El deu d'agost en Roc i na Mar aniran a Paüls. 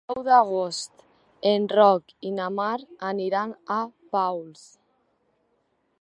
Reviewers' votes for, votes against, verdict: 0, 2, rejected